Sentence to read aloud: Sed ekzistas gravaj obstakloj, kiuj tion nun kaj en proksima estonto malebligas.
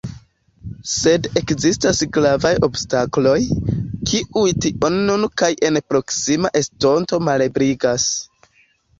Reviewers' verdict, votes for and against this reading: accepted, 2, 1